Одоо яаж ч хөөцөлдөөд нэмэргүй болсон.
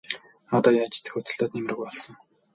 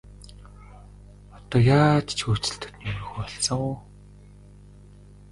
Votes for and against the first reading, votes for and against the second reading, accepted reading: 0, 2, 2, 1, second